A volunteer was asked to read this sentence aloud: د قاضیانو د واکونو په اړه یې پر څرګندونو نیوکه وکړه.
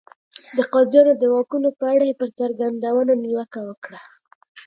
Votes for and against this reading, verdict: 2, 0, accepted